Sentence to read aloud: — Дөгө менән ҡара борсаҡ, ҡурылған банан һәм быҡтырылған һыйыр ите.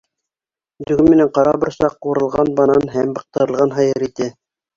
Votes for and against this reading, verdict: 2, 1, accepted